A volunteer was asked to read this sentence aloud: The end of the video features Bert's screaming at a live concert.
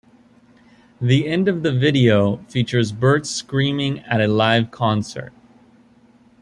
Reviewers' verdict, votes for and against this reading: accepted, 2, 0